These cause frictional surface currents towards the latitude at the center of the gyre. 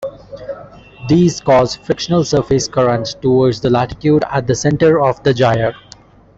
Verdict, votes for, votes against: accepted, 2, 0